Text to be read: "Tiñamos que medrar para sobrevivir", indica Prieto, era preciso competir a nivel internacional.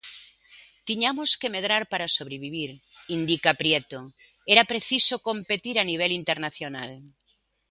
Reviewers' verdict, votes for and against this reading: accepted, 3, 0